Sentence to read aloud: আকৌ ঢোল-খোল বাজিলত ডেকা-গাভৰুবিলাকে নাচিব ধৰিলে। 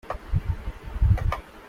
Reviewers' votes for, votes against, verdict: 0, 2, rejected